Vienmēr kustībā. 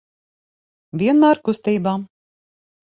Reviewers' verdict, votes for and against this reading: accepted, 9, 0